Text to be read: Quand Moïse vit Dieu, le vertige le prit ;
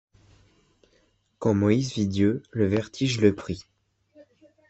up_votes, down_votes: 2, 0